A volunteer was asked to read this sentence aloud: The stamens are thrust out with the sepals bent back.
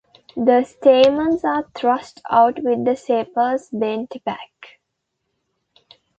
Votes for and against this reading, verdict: 2, 0, accepted